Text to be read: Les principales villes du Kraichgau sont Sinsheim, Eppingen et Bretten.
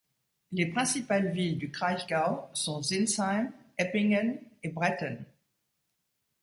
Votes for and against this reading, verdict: 2, 0, accepted